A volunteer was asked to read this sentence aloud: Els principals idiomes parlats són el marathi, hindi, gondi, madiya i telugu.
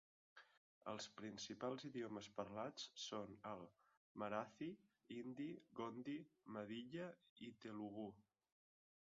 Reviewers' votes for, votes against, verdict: 0, 2, rejected